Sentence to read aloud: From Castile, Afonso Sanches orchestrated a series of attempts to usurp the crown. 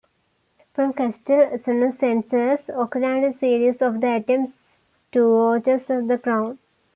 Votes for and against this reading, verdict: 0, 2, rejected